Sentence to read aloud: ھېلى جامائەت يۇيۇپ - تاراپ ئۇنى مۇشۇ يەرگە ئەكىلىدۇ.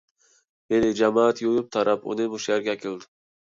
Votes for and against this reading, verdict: 2, 1, accepted